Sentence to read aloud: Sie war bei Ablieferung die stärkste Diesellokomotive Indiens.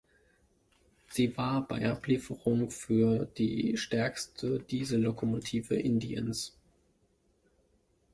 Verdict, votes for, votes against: rejected, 0, 2